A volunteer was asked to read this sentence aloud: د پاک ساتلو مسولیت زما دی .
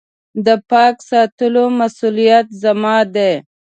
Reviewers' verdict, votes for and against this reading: accepted, 2, 0